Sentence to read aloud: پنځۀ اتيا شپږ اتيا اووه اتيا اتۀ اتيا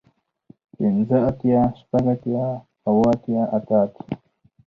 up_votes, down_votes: 4, 0